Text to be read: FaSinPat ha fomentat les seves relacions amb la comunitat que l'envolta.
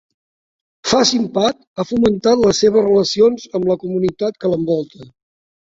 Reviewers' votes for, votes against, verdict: 1, 3, rejected